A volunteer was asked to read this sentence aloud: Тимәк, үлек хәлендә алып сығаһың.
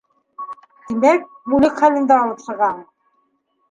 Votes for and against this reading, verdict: 2, 0, accepted